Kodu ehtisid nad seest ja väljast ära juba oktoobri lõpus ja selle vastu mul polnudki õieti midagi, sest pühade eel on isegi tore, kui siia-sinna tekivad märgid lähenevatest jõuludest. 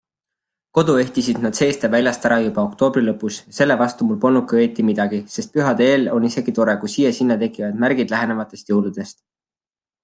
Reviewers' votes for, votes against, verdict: 2, 1, accepted